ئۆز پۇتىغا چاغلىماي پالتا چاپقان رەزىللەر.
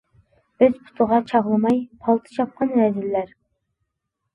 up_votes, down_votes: 2, 0